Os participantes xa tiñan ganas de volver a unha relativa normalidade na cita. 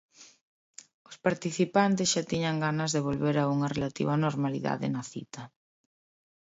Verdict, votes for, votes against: accepted, 2, 0